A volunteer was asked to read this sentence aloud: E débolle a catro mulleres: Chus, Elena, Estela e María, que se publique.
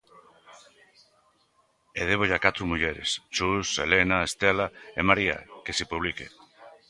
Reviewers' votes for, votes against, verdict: 1, 2, rejected